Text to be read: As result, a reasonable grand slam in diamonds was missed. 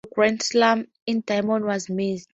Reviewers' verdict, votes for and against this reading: rejected, 0, 2